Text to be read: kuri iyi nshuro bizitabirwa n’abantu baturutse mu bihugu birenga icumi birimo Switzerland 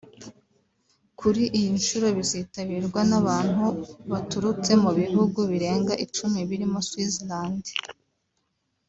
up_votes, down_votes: 2, 0